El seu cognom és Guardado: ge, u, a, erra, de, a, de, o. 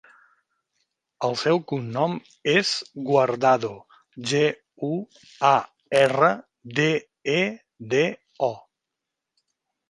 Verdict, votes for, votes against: rejected, 0, 2